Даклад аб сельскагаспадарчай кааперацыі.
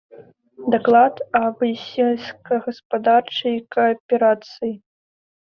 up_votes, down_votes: 2, 0